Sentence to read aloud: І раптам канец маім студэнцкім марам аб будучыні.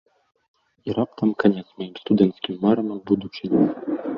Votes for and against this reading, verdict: 1, 2, rejected